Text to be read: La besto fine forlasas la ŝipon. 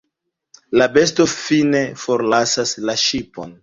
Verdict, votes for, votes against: accepted, 2, 1